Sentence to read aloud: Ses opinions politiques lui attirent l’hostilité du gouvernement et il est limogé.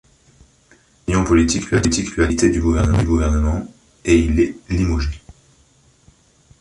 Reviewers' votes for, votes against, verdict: 0, 2, rejected